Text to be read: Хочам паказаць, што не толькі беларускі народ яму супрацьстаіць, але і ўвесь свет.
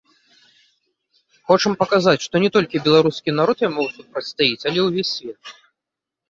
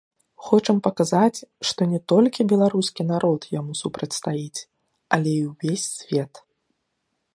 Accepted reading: second